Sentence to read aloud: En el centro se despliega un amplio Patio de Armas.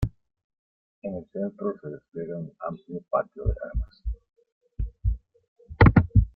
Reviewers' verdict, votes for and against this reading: accepted, 2, 1